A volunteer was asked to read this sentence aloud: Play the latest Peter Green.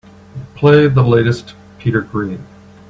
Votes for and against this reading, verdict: 2, 0, accepted